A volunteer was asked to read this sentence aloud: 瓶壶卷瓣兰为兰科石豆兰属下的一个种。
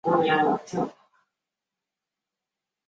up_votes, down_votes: 0, 2